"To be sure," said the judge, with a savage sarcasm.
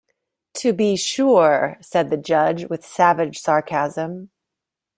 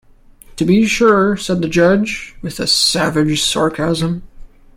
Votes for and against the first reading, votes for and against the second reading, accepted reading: 1, 2, 2, 0, second